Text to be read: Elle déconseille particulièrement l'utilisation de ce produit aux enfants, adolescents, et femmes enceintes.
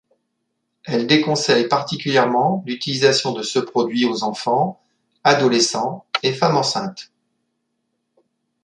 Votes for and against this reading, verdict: 3, 0, accepted